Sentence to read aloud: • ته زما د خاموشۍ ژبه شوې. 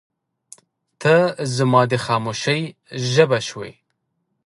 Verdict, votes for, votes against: accepted, 2, 0